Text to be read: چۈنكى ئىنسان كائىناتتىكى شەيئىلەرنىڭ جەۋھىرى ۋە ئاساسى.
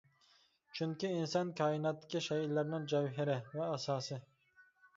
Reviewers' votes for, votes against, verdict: 1, 2, rejected